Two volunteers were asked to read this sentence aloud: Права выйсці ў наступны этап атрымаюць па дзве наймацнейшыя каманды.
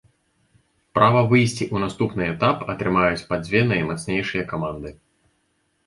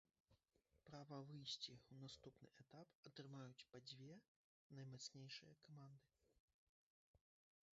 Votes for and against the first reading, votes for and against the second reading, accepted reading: 2, 0, 1, 2, first